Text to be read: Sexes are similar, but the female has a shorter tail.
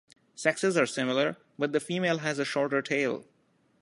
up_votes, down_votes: 1, 2